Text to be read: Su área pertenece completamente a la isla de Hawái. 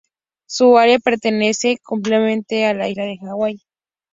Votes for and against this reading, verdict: 2, 0, accepted